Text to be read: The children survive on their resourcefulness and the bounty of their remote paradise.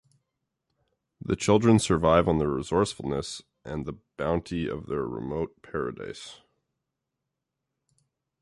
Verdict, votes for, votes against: accepted, 2, 0